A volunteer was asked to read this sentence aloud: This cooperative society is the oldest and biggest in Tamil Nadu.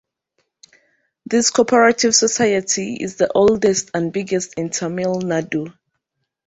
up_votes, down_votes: 1, 2